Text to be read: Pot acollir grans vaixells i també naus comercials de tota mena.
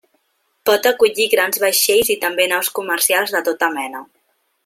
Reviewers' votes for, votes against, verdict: 3, 0, accepted